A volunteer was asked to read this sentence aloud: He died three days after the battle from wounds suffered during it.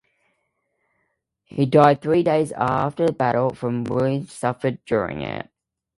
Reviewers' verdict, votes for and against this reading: rejected, 0, 2